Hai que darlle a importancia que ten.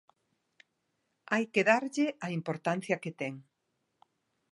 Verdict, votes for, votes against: accepted, 2, 0